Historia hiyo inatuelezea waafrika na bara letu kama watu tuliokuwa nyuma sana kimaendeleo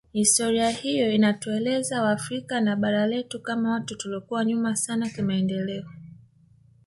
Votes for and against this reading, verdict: 1, 2, rejected